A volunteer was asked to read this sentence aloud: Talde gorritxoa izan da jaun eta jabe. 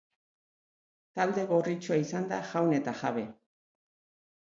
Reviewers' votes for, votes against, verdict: 2, 0, accepted